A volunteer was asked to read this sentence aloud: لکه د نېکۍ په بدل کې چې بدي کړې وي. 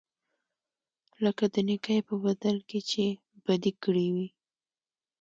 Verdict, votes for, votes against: accepted, 2, 0